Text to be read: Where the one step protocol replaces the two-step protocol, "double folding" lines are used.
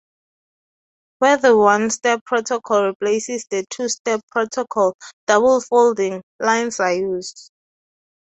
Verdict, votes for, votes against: accepted, 2, 0